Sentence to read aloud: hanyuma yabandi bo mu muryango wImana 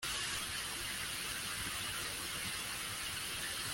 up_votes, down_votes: 0, 2